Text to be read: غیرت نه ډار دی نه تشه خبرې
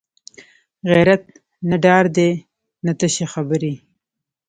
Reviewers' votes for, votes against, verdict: 2, 0, accepted